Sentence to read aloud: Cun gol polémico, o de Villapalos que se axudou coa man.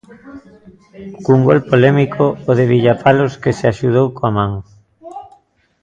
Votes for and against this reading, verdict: 0, 2, rejected